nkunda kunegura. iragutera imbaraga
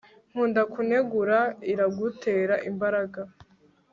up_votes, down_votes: 1, 2